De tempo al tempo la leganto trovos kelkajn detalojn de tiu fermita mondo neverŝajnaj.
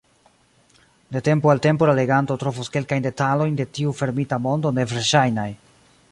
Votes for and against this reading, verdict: 2, 0, accepted